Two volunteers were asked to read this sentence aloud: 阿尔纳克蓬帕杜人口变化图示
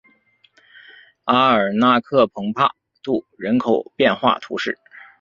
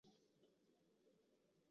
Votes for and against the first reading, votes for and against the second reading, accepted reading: 3, 0, 0, 2, first